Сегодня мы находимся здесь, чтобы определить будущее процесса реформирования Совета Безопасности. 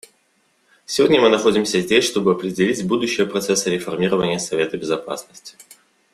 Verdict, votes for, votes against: accepted, 2, 0